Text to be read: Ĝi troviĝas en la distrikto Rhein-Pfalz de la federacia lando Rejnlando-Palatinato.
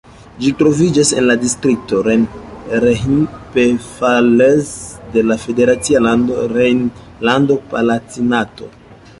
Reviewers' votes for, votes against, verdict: 1, 2, rejected